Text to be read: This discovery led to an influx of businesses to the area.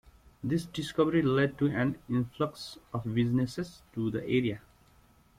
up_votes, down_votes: 2, 0